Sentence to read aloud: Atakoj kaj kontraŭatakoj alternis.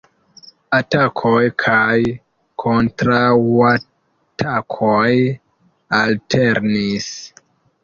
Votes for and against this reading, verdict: 0, 2, rejected